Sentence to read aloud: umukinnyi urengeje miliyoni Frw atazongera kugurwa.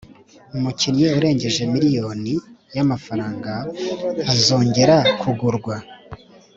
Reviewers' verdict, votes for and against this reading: rejected, 1, 2